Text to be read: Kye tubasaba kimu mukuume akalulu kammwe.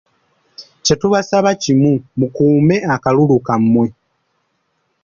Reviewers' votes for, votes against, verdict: 2, 0, accepted